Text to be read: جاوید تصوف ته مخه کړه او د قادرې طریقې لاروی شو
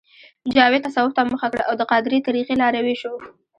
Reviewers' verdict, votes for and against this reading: rejected, 0, 2